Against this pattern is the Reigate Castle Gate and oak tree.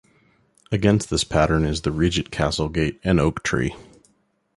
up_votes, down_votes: 3, 0